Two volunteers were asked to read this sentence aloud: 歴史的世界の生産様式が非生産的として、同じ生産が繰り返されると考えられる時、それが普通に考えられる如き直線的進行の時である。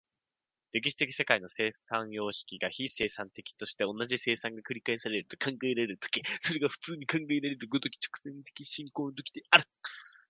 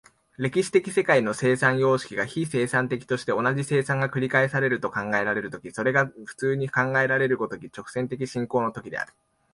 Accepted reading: second